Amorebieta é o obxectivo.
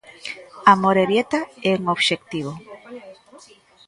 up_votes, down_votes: 0, 2